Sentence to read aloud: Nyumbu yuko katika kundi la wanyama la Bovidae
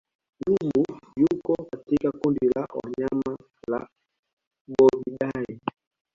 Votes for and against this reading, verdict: 0, 2, rejected